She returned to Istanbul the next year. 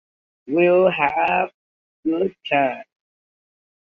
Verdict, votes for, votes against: rejected, 1, 2